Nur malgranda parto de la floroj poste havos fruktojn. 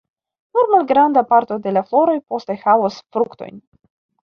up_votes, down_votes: 2, 0